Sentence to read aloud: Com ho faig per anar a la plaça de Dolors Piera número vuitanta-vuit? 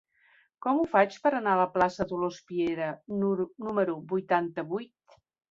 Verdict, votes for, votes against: rejected, 1, 2